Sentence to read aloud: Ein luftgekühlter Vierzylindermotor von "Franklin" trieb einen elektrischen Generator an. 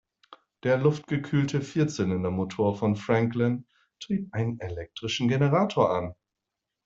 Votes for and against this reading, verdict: 0, 2, rejected